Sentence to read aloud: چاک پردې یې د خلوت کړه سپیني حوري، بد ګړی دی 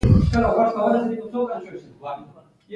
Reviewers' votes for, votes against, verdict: 1, 2, rejected